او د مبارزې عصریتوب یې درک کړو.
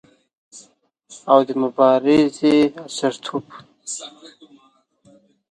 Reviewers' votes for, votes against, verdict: 1, 2, rejected